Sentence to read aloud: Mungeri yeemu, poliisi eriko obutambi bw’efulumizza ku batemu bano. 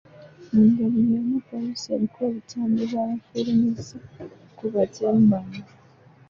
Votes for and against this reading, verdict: 2, 0, accepted